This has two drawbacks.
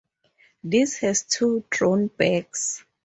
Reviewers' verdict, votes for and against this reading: rejected, 2, 2